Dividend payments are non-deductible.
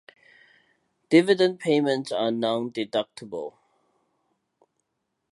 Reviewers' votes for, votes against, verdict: 2, 1, accepted